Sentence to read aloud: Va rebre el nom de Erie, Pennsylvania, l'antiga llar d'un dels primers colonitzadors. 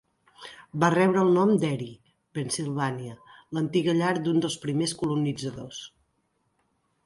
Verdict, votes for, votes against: accepted, 2, 0